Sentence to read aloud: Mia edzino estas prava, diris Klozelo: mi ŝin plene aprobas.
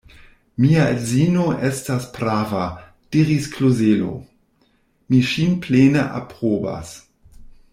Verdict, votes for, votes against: rejected, 1, 2